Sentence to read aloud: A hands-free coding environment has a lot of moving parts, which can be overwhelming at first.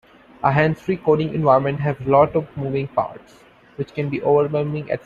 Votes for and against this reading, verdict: 0, 3, rejected